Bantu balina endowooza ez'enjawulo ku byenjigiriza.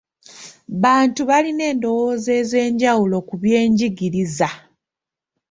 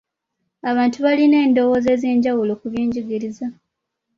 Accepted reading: first